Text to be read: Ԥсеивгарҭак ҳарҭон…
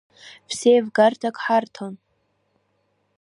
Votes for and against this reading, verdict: 3, 1, accepted